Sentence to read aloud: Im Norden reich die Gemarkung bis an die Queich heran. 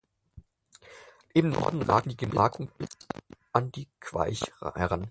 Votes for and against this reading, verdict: 0, 4, rejected